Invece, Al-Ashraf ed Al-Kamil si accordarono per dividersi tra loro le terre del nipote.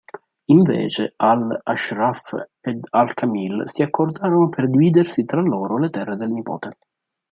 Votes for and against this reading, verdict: 2, 1, accepted